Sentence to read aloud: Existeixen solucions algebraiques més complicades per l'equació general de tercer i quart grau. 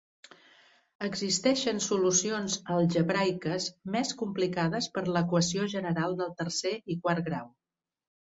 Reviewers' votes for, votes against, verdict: 1, 2, rejected